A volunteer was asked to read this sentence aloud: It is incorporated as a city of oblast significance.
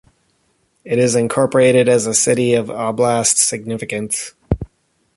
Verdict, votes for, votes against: rejected, 1, 2